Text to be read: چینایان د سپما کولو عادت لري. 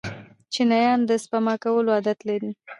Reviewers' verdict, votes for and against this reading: rejected, 1, 2